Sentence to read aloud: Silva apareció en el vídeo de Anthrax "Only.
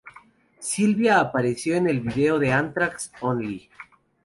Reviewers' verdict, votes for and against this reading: rejected, 0, 2